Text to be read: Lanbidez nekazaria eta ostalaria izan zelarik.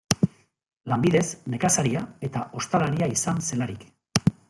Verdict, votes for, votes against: accepted, 2, 0